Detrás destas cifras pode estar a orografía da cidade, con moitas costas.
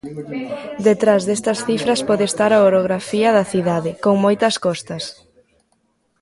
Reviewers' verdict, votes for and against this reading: accepted, 2, 1